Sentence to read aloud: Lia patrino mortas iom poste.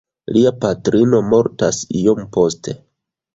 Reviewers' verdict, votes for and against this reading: accepted, 2, 1